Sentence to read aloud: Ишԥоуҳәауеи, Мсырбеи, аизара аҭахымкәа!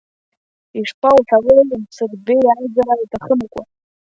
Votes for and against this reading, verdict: 2, 0, accepted